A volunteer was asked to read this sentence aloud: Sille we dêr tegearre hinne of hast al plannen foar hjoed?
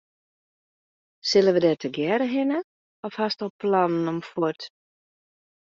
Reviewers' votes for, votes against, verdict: 0, 2, rejected